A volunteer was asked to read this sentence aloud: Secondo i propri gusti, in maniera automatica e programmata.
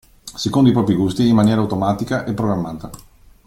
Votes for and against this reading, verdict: 0, 2, rejected